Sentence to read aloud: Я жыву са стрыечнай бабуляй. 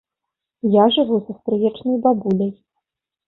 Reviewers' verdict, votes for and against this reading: accepted, 2, 0